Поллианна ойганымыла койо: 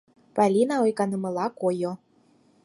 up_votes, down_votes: 2, 4